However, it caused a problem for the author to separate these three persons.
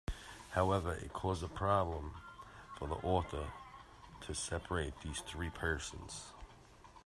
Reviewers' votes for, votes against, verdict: 2, 0, accepted